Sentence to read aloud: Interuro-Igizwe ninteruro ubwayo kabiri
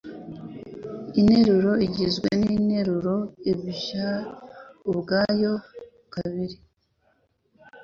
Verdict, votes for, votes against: rejected, 1, 2